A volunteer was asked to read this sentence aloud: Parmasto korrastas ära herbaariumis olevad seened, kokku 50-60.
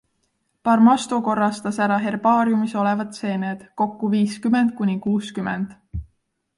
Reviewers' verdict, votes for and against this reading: rejected, 0, 2